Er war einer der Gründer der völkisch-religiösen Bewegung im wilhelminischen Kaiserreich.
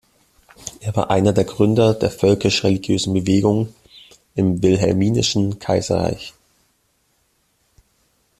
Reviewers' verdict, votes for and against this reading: accepted, 2, 0